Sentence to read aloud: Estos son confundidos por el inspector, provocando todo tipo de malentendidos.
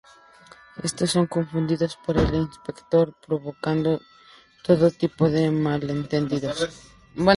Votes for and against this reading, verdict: 2, 0, accepted